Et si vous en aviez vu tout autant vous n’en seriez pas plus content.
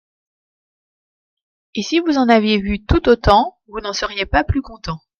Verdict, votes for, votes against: accepted, 2, 0